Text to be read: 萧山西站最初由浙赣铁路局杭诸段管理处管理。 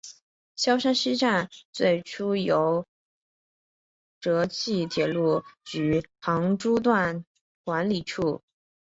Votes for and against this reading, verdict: 0, 2, rejected